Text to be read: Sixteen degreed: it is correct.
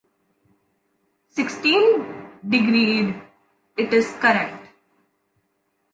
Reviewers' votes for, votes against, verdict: 2, 0, accepted